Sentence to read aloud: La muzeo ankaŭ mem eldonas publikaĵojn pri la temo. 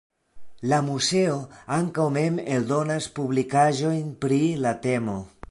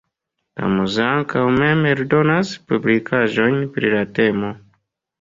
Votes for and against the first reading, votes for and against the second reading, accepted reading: 1, 2, 2, 0, second